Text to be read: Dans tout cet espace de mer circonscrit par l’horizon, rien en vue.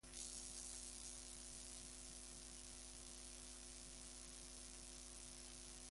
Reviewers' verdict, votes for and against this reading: rejected, 0, 2